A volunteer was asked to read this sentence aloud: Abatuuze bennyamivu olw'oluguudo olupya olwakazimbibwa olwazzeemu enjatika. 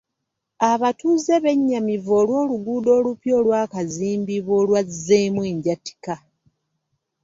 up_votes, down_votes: 2, 0